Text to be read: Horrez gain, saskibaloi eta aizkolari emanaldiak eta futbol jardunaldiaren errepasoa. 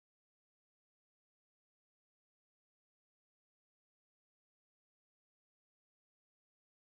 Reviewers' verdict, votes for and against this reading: rejected, 0, 4